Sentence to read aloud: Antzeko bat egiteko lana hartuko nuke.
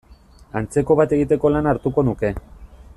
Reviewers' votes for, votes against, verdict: 2, 0, accepted